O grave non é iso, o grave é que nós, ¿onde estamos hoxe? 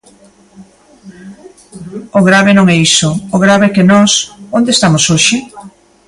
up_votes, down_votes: 2, 0